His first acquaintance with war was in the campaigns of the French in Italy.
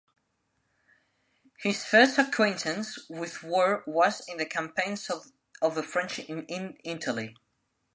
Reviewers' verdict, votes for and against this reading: rejected, 1, 2